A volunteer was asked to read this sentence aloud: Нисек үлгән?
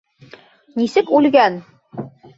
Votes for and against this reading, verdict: 1, 2, rejected